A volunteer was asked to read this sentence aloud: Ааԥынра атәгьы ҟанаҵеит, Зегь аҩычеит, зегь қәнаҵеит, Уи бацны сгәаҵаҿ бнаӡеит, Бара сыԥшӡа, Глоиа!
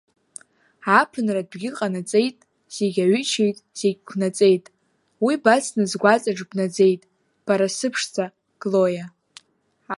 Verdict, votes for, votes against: rejected, 1, 2